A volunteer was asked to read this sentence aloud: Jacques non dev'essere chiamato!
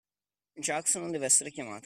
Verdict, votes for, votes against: accepted, 2, 0